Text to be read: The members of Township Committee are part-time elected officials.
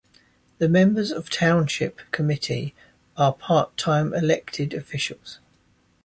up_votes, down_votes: 2, 0